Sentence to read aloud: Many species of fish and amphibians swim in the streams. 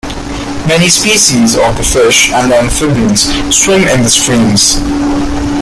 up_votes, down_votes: 0, 2